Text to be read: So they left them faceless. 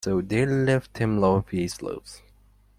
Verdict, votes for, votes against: rejected, 0, 2